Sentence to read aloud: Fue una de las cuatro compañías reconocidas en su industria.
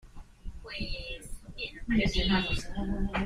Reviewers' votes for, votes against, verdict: 1, 2, rejected